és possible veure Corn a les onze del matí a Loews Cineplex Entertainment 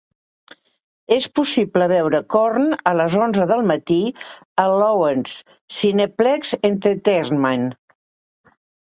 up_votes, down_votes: 1, 2